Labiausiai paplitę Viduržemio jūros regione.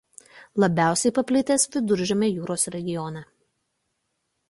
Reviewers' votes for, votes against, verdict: 0, 2, rejected